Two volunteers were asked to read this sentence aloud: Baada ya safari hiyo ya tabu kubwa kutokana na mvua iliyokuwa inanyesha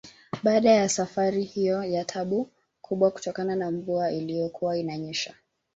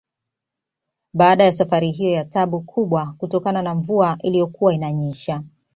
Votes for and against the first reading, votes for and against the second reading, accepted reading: 2, 0, 1, 2, first